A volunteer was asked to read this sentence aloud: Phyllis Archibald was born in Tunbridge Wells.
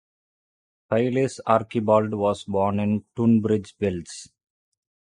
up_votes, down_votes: 0, 2